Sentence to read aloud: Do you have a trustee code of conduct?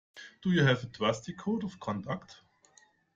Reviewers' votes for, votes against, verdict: 2, 0, accepted